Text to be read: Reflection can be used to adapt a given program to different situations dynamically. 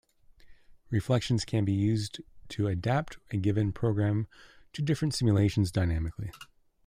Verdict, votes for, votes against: rejected, 1, 2